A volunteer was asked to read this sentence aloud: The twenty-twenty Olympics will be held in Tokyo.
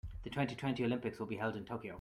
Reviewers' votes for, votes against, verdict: 2, 1, accepted